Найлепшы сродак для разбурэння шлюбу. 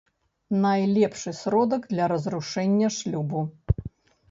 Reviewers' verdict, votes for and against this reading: rejected, 1, 2